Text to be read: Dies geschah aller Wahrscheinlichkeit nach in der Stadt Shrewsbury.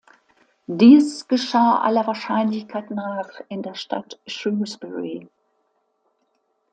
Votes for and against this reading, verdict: 2, 0, accepted